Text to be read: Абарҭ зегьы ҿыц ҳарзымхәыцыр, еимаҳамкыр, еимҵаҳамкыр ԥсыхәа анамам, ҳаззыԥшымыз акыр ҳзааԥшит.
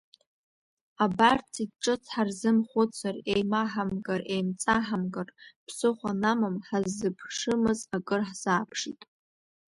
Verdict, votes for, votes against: rejected, 1, 2